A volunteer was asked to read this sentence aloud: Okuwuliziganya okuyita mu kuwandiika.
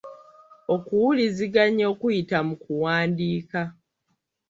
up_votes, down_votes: 1, 2